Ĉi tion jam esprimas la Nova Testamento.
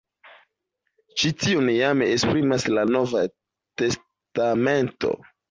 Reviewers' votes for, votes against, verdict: 2, 1, accepted